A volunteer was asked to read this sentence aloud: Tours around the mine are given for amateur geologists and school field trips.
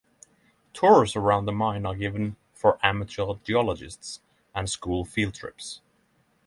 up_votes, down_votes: 6, 0